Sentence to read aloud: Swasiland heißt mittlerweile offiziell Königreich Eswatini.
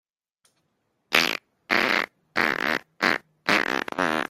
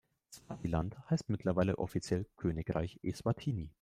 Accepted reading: second